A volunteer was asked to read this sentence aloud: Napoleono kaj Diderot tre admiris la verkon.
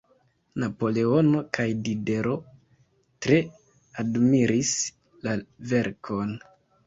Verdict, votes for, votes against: accepted, 2, 0